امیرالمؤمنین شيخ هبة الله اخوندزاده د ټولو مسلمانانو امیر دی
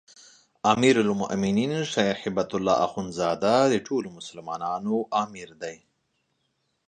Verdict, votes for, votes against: rejected, 1, 3